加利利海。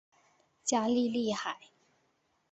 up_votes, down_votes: 2, 0